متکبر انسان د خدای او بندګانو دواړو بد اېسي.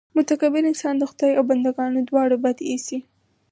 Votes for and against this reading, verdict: 4, 0, accepted